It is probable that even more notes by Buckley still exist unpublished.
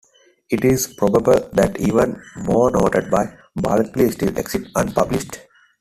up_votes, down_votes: 1, 2